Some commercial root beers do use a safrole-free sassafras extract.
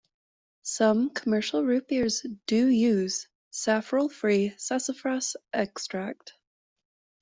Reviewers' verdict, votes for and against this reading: rejected, 1, 2